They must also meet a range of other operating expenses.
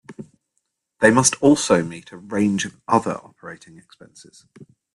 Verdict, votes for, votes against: rejected, 1, 2